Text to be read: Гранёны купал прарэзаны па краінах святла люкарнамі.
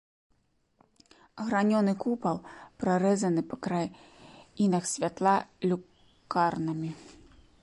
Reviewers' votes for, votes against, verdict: 0, 2, rejected